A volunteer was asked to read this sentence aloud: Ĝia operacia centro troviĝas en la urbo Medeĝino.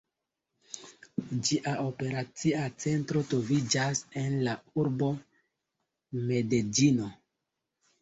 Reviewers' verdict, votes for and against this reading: accepted, 2, 1